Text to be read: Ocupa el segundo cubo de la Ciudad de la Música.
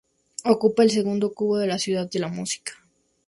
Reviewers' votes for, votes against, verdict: 2, 0, accepted